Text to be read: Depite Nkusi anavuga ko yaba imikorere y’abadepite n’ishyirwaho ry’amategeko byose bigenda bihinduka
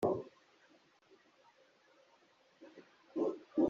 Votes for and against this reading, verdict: 0, 2, rejected